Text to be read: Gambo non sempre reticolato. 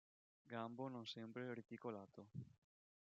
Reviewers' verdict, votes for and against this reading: accepted, 3, 2